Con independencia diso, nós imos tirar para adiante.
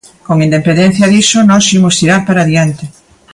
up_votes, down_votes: 1, 2